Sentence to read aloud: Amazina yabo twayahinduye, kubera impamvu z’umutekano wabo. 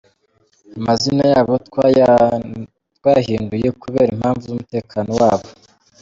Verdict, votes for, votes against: rejected, 0, 2